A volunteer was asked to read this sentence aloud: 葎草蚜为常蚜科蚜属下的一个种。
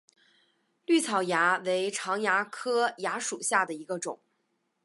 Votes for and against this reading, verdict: 4, 0, accepted